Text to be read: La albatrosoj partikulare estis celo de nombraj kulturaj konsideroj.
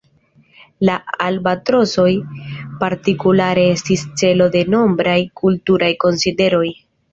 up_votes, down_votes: 2, 0